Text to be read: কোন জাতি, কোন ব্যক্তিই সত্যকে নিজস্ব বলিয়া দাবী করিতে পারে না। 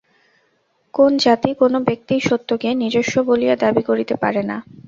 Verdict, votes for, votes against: rejected, 2, 2